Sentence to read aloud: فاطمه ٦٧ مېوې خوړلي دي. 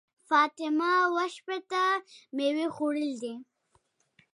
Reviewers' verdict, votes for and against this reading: rejected, 0, 2